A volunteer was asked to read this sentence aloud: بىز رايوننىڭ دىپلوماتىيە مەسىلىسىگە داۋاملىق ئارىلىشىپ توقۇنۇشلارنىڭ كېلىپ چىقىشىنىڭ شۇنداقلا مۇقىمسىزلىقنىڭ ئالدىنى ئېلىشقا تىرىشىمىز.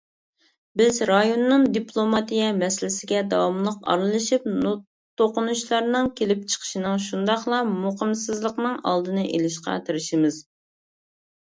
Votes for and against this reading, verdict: 0, 2, rejected